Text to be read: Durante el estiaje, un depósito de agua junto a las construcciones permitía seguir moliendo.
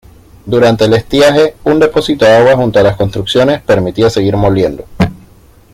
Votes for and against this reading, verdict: 0, 2, rejected